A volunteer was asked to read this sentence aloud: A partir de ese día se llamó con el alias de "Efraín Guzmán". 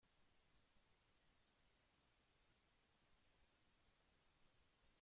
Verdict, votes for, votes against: rejected, 0, 2